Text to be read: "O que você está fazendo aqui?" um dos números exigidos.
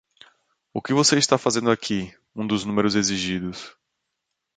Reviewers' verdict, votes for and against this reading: accepted, 2, 0